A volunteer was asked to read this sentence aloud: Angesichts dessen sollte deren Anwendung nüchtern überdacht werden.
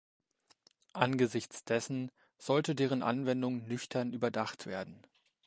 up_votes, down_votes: 2, 0